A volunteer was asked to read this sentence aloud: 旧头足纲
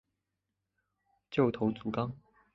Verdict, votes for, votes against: accepted, 2, 0